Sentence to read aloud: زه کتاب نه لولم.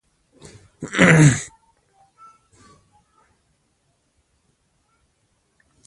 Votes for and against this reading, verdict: 0, 2, rejected